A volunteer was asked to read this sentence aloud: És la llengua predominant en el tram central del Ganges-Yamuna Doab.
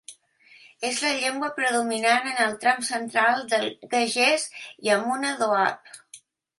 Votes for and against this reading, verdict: 1, 2, rejected